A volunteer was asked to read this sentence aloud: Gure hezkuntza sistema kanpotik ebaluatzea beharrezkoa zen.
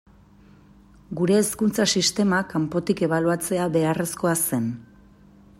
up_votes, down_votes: 2, 0